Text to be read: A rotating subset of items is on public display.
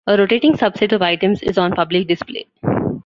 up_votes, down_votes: 2, 0